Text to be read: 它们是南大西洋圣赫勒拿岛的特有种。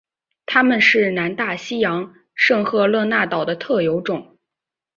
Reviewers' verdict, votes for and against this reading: accepted, 2, 0